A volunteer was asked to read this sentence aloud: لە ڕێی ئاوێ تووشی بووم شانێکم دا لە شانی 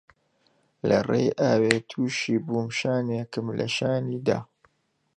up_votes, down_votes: 0, 2